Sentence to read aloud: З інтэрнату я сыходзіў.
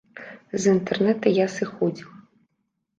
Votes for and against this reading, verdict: 0, 2, rejected